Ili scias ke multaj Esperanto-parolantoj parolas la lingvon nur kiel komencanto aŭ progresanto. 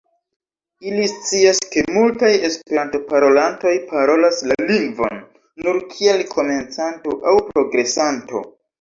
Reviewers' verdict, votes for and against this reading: accepted, 2, 0